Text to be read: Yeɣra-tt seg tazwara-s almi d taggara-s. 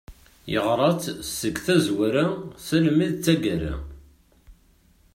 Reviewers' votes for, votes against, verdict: 0, 2, rejected